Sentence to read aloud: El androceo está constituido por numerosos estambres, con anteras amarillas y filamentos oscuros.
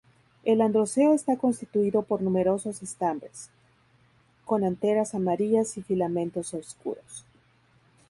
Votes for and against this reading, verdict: 0, 2, rejected